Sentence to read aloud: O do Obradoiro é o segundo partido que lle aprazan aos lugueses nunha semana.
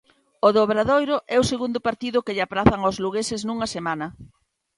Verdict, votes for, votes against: accepted, 2, 0